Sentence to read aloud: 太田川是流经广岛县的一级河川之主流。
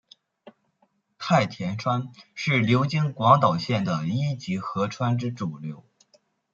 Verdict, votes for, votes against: accepted, 2, 1